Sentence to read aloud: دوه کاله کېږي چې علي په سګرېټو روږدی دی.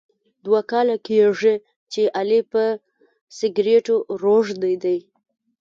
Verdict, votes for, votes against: rejected, 1, 2